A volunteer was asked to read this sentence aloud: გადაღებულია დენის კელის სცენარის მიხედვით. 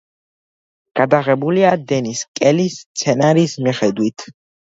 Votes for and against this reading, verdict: 2, 1, accepted